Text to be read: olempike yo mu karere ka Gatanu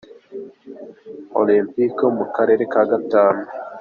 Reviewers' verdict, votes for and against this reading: accepted, 3, 0